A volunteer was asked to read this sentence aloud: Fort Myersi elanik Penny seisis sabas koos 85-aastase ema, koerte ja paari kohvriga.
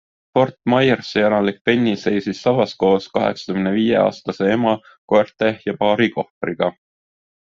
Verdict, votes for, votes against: rejected, 0, 2